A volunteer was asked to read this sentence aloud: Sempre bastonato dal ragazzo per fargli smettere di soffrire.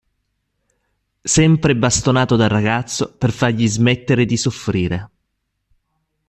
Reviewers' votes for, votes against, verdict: 2, 0, accepted